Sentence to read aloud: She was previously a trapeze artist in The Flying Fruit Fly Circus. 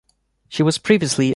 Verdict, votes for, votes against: rejected, 0, 2